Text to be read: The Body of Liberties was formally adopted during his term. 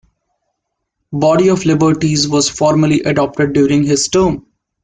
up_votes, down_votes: 1, 3